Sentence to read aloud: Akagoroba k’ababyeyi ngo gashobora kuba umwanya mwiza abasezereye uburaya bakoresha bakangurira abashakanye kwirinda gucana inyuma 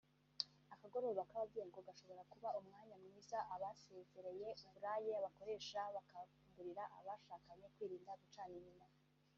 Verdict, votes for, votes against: rejected, 1, 2